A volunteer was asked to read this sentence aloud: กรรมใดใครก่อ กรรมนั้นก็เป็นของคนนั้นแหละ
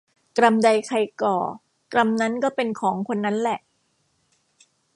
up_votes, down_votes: 0, 2